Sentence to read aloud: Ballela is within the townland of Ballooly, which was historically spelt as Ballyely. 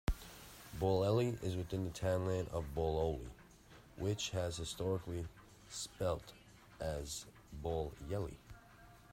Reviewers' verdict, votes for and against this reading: rejected, 1, 2